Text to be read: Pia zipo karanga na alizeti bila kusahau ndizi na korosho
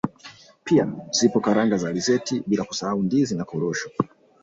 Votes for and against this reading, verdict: 2, 1, accepted